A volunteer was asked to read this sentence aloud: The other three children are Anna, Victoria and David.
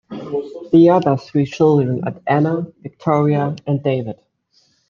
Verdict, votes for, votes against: rejected, 0, 2